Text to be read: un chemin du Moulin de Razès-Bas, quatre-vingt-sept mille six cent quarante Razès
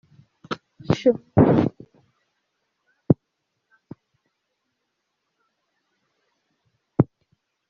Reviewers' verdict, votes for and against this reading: rejected, 0, 2